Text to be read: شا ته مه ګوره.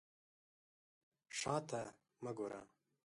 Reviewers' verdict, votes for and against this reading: accepted, 4, 0